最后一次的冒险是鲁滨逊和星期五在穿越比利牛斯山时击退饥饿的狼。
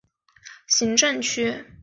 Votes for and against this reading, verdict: 0, 4, rejected